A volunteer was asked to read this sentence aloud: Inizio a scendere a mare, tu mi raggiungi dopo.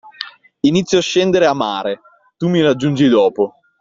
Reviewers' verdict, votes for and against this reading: accepted, 2, 0